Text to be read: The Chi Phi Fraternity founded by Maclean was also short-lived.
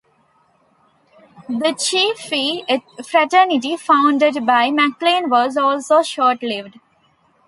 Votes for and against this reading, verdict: 2, 0, accepted